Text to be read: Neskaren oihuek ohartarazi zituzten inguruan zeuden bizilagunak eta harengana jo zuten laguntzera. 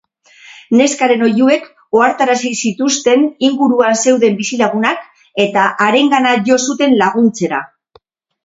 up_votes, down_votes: 2, 2